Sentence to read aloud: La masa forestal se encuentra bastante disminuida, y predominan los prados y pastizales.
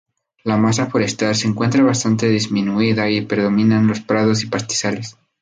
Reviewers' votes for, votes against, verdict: 2, 0, accepted